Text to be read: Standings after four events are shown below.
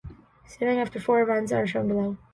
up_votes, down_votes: 2, 0